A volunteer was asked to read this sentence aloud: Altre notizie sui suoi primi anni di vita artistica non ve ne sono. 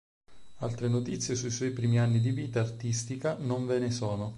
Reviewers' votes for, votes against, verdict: 4, 0, accepted